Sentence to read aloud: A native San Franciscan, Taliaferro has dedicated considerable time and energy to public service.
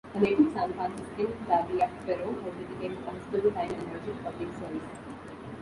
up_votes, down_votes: 0, 2